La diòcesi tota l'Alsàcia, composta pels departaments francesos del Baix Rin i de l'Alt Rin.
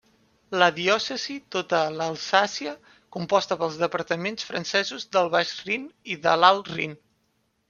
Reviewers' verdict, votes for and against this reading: rejected, 1, 2